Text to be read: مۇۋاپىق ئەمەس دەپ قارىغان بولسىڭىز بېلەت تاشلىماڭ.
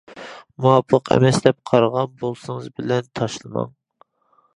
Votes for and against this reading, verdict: 2, 0, accepted